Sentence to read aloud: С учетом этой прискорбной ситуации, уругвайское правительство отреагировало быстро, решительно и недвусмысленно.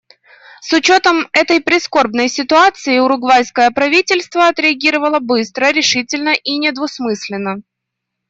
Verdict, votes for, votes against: accepted, 2, 0